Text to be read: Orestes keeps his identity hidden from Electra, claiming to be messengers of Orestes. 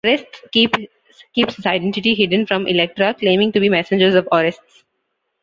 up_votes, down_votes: 1, 2